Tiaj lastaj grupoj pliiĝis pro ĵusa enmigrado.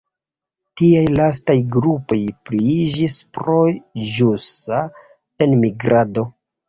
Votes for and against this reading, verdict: 2, 0, accepted